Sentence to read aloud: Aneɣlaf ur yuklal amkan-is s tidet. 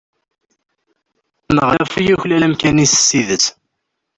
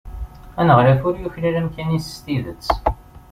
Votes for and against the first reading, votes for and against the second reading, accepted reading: 0, 2, 2, 0, second